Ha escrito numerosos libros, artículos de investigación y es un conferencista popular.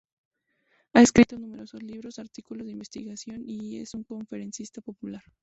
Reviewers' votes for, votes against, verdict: 0, 2, rejected